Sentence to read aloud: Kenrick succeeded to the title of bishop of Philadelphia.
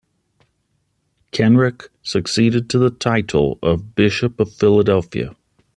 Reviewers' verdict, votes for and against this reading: accepted, 2, 0